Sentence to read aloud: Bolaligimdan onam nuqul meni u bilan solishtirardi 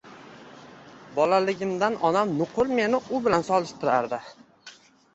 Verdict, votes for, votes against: rejected, 1, 2